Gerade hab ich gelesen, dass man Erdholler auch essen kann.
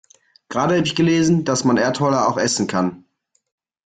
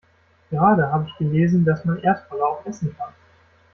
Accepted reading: first